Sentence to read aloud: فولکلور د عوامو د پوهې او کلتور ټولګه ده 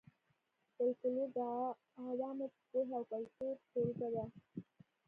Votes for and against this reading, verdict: 1, 2, rejected